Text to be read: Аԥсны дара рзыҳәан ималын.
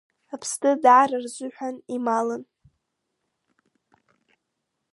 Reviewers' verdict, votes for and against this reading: rejected, 1, 2